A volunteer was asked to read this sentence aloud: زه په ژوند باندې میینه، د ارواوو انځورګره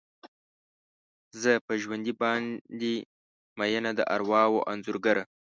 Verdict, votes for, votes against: rejected, 1, 2